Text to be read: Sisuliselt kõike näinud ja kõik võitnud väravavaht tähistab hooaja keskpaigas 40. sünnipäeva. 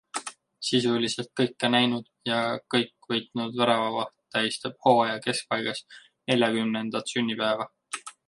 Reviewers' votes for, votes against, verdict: 0, 2, rejected